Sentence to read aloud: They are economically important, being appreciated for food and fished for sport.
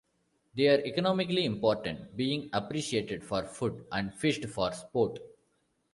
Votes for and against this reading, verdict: 0, 2, rejected